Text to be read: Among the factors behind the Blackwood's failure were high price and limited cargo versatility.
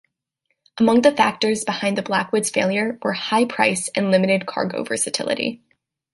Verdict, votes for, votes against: accepted, 2, 0